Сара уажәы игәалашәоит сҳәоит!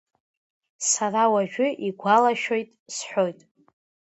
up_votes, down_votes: 1, 2